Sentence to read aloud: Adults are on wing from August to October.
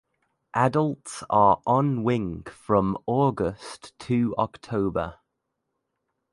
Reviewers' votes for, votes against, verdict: 2, 0, accepted